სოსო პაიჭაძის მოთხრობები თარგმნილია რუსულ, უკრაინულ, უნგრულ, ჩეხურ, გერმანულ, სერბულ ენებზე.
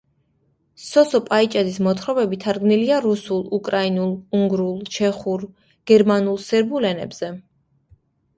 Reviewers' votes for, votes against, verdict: 2, 0, accepted